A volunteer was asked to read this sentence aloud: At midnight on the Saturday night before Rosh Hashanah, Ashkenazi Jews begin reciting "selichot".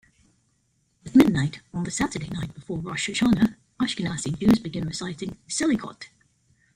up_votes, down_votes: 1, 2